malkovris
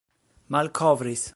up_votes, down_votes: 3, 0